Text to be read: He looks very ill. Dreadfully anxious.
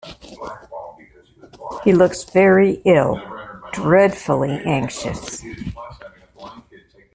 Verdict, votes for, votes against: accepted, 2, 1